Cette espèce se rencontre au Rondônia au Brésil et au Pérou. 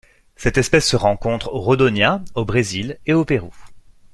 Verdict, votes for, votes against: rejected, 1, 2